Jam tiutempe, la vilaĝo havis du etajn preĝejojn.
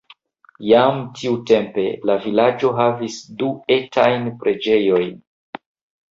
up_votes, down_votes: 0, 2